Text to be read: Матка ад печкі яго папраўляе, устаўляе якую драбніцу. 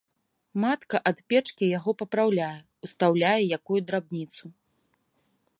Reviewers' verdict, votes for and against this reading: accepted, 2, 0